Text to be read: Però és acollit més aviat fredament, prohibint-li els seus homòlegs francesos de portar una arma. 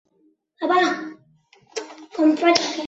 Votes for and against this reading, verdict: 0, 2, rejected